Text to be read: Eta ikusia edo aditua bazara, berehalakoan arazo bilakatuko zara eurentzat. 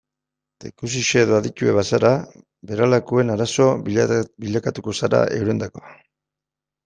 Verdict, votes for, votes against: rejected, 0, 2